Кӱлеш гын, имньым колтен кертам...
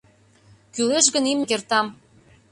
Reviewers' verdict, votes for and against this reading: rejected, 0, 2